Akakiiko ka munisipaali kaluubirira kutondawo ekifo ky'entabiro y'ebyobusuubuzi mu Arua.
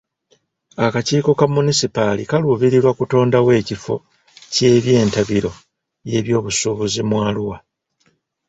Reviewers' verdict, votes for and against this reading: rejected, 1, 2